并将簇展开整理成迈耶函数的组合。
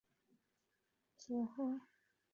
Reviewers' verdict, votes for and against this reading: rejected, 0, 4